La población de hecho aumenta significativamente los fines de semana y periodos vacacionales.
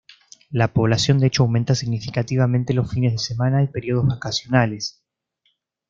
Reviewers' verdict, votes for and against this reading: accepted, 2, 0